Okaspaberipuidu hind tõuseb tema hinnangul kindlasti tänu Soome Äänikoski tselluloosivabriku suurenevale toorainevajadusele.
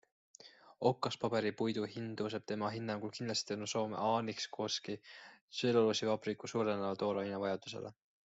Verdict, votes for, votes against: accepted, 2, 0